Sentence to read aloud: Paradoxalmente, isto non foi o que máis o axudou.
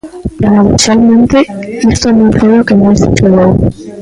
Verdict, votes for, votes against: rejected, 0, 2